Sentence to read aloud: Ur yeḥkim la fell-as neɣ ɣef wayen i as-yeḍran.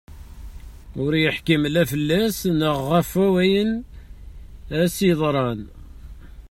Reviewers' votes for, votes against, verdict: 1, 2, rejected